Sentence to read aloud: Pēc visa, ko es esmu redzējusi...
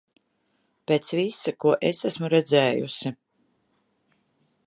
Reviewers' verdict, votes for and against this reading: accepted, 2, 0